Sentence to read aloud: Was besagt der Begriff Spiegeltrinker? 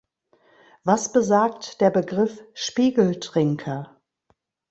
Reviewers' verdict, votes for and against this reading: accepted, 2, 0